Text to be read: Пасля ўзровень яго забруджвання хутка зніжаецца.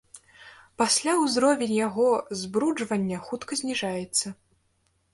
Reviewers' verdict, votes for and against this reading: rejected, 1, 2